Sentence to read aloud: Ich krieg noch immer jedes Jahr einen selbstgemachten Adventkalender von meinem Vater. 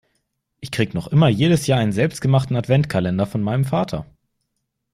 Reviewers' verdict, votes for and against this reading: accepted, 2, 0